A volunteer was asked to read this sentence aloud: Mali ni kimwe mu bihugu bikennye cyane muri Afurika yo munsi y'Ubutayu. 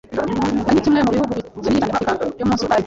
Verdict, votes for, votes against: rejected, 1, 2